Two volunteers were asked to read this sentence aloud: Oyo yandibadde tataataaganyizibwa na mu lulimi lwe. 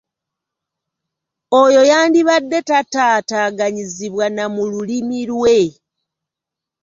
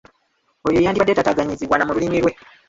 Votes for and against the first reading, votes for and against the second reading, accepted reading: 2, 0, 0, 2, first